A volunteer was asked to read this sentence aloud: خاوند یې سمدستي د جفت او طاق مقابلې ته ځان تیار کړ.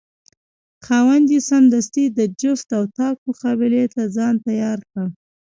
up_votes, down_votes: 2, 0